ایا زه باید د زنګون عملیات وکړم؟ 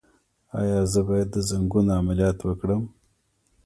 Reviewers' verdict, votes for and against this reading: rejected, 0, 2